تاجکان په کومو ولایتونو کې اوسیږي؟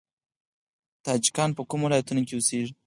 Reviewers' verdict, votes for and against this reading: rejected, 2, 4